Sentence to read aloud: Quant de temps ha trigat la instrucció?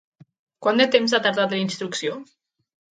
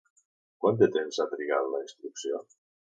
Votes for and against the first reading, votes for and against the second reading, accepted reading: 0, 4, 3, 0, second